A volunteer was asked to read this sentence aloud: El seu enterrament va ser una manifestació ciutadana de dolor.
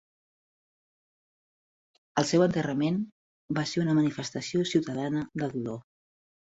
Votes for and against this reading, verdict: 3, 0, accepted